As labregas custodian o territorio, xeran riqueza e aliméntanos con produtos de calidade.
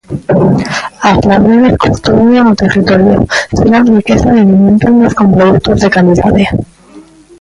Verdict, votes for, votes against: rejected, 0, 3